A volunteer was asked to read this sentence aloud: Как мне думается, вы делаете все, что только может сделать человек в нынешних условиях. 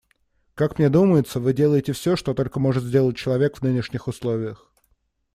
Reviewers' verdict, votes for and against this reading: accepted, 2, 0